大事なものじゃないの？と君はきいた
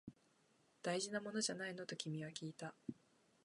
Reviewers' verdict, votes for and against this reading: rejected, 1, 2